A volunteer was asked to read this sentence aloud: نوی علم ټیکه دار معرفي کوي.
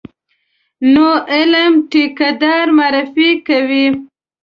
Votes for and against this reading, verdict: 0, 2, rejected